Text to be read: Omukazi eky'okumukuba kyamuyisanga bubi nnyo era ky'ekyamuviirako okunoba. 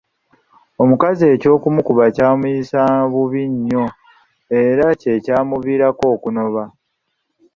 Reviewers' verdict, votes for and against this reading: accepted, 2, 0